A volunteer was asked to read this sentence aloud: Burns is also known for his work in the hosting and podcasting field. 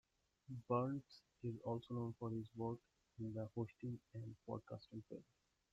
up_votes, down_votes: 2, 1